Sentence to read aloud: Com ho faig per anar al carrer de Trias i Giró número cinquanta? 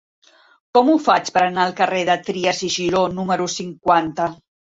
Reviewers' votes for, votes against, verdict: 2, 0, accepted